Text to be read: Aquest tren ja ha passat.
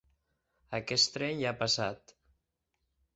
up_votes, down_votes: 6, 0